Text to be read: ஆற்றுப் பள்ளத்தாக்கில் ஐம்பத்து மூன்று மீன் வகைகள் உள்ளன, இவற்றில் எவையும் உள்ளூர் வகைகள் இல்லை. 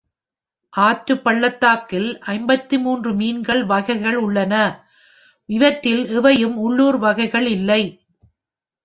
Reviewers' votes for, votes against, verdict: 1, 2, rejected